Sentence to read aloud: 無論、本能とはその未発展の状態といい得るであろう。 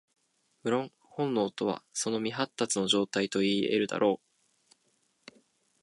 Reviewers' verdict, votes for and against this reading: rejected, 0, 2